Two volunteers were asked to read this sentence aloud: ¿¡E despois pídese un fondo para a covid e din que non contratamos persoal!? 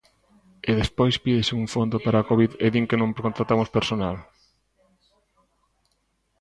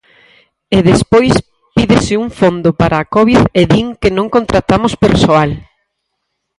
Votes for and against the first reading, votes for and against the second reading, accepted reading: 0, 2, 4, 2, second